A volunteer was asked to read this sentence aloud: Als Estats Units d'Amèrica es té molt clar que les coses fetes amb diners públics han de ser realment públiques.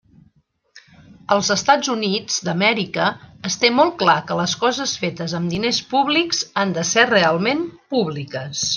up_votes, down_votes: 2, 0